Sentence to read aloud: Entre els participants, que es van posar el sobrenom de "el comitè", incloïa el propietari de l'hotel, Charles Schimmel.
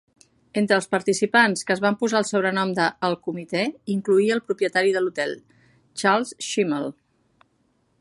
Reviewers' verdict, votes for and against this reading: accepted, 2, 0